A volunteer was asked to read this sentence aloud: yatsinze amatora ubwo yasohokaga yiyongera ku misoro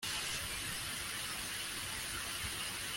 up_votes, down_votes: 0, 2